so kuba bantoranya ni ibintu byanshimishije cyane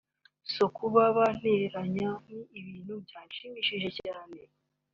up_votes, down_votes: 0, 2